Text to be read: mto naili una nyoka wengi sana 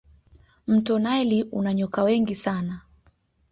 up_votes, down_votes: 2, 0